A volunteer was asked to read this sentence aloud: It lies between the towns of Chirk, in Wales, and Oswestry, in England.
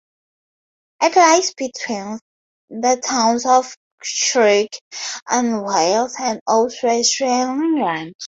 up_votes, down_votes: 0, 4